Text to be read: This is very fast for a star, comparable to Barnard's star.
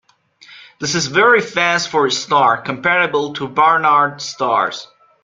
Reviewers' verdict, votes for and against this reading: rejected, 0, 2